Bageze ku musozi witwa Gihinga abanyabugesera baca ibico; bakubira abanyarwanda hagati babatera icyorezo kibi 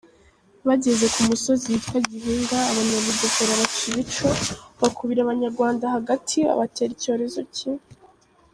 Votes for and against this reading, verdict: 3, 0, accepted